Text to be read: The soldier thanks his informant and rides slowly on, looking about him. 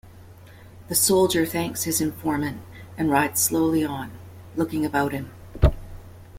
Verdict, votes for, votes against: accepted, 2, 0